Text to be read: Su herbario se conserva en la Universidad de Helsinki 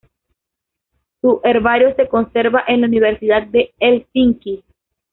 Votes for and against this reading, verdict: 2, 1, accepted